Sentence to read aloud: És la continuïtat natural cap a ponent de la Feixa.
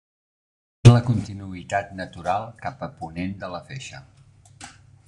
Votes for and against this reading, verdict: 0, 2, rejected